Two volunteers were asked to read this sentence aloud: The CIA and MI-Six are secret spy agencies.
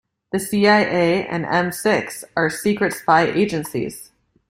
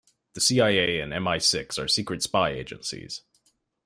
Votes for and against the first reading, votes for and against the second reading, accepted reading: 0, 2, 2, 0, second